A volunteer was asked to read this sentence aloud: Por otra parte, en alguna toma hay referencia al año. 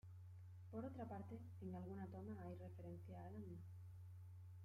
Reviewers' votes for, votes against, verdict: 0, 2, rejected